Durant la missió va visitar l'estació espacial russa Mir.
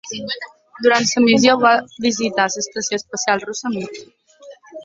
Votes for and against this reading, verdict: 2, 0, accepted